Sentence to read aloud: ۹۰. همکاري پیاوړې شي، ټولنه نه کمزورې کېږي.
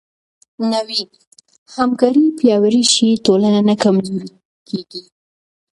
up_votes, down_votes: 0, 2